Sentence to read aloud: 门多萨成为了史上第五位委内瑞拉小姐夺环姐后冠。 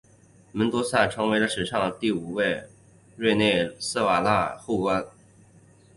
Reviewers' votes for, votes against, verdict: 0, 2, rejected